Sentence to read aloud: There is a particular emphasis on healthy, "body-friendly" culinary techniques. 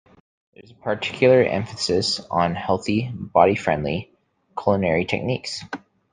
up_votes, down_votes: 1, 2